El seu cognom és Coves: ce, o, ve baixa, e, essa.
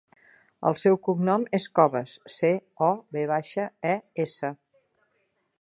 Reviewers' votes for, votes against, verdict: 2, 0, accepted